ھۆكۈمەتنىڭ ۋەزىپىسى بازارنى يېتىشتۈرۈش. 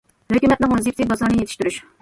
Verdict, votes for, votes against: rejected, 1, 2